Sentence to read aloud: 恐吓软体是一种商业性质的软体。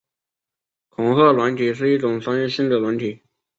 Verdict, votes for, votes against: accepted, 2, 1